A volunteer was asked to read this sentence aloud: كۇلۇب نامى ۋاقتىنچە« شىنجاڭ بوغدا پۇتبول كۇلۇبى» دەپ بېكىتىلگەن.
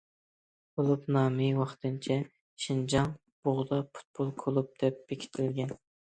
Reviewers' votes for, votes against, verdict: 0, 2, rejected